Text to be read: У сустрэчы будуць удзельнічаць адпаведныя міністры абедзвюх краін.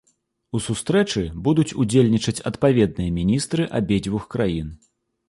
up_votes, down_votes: 2, 0